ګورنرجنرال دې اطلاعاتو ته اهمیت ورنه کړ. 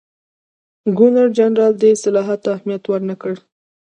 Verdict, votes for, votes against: rejected, 0, 2